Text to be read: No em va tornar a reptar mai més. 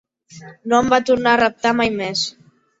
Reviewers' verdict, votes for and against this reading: accepted, 2, 0